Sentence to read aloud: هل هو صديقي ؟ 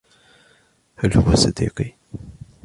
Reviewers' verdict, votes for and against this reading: accepted, 2, 0